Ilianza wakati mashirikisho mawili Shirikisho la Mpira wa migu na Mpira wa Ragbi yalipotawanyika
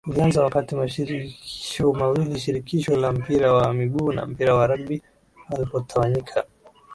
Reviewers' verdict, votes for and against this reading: rejected, 0, 2